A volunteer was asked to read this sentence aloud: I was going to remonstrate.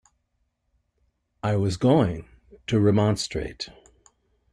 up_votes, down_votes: 2, 0